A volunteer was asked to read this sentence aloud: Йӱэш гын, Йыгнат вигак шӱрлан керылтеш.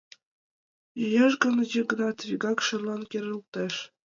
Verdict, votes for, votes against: rejected, 2, 3